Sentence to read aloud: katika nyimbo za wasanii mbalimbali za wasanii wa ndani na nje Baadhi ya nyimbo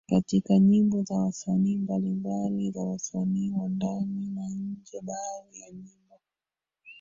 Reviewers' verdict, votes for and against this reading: rejected, 0, 2